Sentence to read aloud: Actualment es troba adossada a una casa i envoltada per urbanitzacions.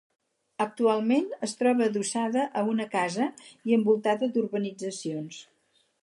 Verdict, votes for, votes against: rejected, 2, 4